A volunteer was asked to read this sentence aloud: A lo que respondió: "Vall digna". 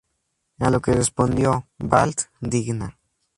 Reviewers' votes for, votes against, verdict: 2, 0, accepted